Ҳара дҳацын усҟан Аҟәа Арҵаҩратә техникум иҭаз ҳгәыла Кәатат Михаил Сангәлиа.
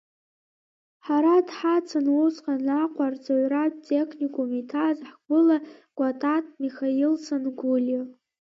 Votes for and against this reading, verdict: 0, 2, rejected